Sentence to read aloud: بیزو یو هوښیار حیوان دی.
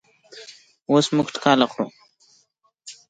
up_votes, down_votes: 1, 2